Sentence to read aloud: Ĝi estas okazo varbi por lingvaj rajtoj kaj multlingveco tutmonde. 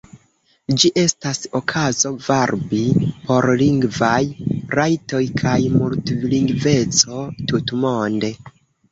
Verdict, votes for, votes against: rejected, 0, 2